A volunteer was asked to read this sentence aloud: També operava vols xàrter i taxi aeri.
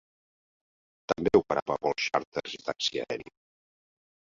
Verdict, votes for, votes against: rejected, 0, 2